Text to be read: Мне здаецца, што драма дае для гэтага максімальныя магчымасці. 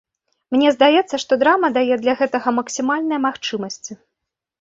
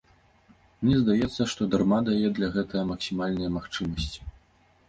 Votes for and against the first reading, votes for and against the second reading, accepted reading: 2, 0, 0, 2, first